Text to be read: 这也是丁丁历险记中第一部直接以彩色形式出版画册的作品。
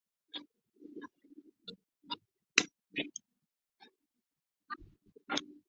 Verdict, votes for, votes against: rejected, 2, 6